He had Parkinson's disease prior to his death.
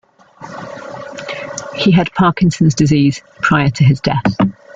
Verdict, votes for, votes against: accepted, 2, 0